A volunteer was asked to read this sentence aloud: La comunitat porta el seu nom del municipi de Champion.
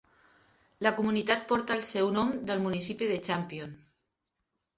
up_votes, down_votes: 4, 0